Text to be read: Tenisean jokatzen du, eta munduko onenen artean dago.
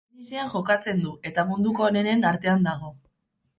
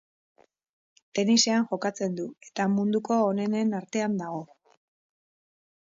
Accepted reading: second